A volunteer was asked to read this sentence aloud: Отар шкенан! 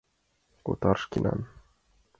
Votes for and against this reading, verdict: 3, 0, accepted